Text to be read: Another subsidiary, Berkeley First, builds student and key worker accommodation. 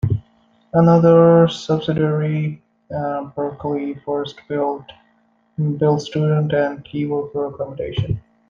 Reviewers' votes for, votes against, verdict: 0, 2, rejected